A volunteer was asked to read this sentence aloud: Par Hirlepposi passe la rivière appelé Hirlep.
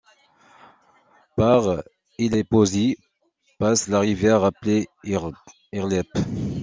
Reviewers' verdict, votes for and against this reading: rejected, 0, 2